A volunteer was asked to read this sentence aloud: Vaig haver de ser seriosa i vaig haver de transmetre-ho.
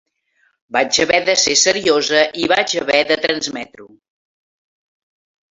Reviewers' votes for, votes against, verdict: 6, 0, accepted